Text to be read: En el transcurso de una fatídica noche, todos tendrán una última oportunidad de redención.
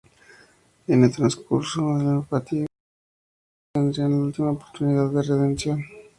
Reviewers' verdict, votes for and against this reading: rejected, 2, 2